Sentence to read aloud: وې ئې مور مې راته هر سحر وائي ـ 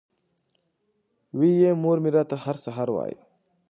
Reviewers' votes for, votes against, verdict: 2, 0, accepted